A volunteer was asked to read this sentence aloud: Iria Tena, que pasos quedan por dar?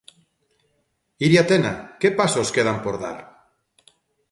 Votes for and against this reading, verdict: 2, 0, accepted